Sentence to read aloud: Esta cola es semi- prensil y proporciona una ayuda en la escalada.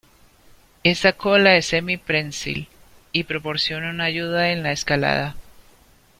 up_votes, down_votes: 2, 0